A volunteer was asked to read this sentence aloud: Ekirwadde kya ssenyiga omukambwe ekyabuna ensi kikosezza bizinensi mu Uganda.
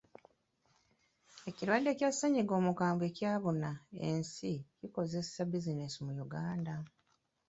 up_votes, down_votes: 1, 3